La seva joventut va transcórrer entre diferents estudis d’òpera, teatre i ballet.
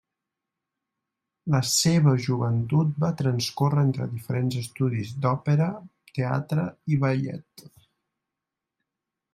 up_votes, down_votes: 0, 2